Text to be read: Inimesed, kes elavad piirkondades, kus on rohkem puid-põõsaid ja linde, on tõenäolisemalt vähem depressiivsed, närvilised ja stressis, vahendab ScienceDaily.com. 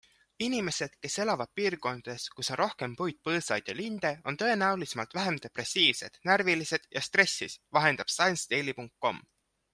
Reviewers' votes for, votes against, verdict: 2, 0, accepted